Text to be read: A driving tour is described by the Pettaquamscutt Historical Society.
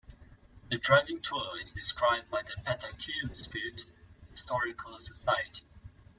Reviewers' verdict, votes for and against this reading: accepted, 2, 0